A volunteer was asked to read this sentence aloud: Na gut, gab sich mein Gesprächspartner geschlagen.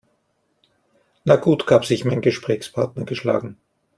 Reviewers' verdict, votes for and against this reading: accepted, 2, 0